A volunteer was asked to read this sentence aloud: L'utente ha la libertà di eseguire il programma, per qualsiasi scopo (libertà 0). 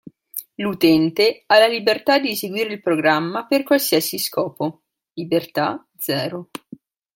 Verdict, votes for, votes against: rejected, 0, 2